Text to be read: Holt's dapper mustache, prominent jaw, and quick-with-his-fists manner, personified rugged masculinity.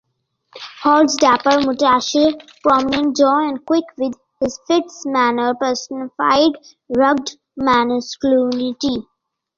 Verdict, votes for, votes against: rejected, 1, 2